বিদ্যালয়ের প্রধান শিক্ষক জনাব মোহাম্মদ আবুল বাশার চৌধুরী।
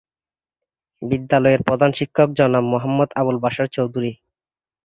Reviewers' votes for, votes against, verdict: 2, 0, accepted